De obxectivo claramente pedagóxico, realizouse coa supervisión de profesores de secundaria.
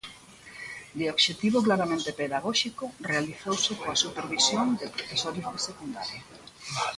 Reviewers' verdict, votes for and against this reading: accepted, 2, 1